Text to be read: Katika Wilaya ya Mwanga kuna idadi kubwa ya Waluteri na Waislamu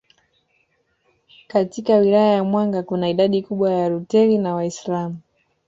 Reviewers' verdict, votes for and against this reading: accepted, 2, 0